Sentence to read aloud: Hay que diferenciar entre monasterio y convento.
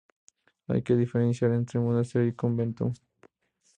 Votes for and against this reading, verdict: 2, 0, accepted